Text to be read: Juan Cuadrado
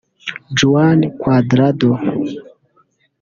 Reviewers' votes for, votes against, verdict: 1, 2, rejected